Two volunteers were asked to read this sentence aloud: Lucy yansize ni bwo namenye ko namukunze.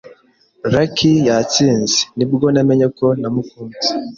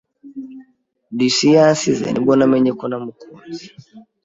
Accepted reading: second